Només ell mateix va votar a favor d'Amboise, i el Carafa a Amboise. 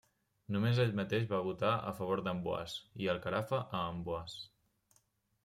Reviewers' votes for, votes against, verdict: 2, 0, accepted